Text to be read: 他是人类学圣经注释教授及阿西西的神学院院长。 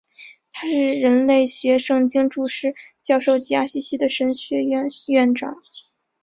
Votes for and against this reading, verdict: 2, 1, accepted